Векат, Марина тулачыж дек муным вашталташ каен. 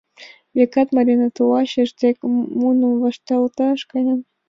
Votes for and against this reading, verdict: 2, 1, accepted